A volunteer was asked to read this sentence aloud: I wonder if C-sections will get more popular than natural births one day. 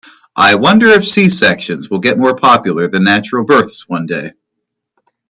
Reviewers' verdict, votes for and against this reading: accepted, 2, 0